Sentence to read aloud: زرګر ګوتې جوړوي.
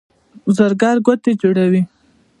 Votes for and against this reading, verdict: 2, 0, accepted